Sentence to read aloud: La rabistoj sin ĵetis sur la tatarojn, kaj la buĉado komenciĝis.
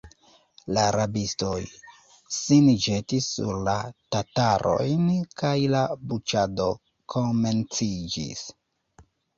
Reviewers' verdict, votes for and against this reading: accepted, 2, 0